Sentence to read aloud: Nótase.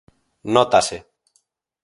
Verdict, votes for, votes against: accepted, 4, 0